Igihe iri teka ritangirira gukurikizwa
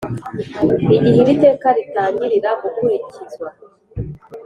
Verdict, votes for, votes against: accepted, 4, 0